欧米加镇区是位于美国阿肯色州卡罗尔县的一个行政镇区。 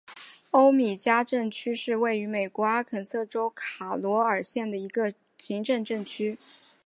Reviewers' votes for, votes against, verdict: 2, 0, accepted